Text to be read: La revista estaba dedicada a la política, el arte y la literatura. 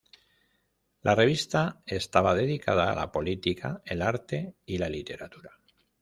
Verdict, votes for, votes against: accepted, 2, 0